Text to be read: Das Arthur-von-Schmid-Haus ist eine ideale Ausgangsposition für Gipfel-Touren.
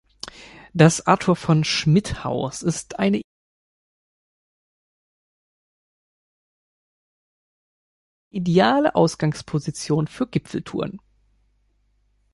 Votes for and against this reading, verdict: 0, 2, rejected